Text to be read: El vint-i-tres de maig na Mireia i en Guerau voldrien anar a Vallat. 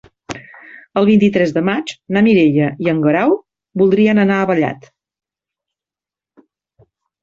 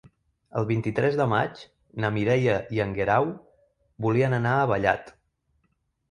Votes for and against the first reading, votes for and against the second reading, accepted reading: 3, 0, 0, 2, first